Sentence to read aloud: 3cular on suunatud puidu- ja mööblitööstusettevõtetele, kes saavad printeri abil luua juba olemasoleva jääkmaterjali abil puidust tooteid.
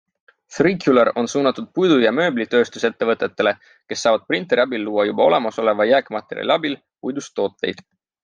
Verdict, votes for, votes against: rejected, 0, 2